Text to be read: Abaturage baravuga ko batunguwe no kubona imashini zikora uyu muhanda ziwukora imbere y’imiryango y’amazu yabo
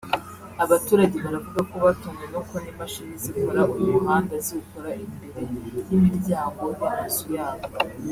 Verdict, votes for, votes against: rejected, 1, 2